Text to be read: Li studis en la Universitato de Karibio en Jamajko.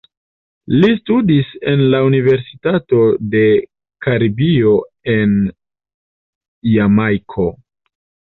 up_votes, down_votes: 2, 1